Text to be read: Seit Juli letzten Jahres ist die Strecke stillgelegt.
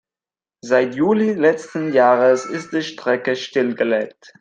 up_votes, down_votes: 2, 0